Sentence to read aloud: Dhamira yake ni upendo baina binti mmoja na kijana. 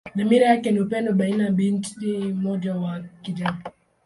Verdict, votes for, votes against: rejected, 0, 2